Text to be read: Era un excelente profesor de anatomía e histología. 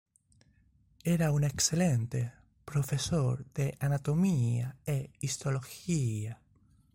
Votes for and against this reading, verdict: 2, 0, accepted